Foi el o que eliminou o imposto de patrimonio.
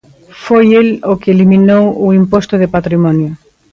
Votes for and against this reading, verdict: 4, 0, accepted